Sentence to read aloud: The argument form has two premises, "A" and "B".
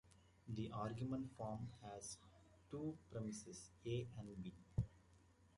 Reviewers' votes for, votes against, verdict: 2, 0, accepted